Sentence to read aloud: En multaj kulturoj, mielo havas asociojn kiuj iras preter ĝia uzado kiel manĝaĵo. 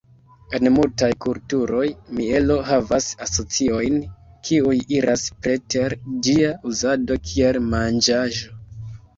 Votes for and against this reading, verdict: 2, 1, accepted